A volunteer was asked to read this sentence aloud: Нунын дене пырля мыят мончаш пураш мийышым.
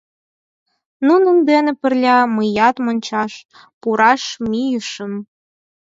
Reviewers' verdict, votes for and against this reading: accepted, 4, 0